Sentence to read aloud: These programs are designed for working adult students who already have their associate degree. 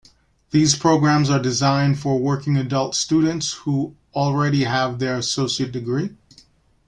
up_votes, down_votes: 2, 0